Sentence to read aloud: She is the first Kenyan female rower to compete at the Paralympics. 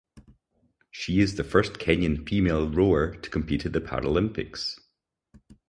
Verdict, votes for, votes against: accepted, 4, 0